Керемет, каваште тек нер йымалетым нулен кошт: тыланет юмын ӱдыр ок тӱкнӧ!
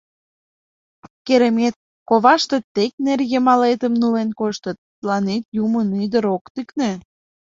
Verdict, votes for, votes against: rejected, 1, 2